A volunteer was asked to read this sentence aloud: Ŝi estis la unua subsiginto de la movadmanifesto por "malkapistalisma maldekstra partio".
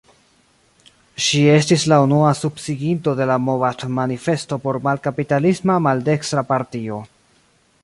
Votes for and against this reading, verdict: 1, 2, rejected